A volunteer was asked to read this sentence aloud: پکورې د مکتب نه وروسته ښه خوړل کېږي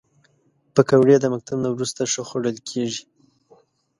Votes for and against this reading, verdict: 2, 0, accepted